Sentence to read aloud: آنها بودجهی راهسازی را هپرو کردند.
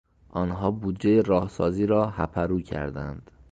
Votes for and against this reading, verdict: 2, 0, accepted